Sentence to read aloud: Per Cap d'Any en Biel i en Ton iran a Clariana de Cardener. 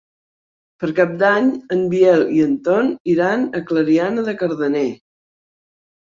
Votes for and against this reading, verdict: 3, 0, accepted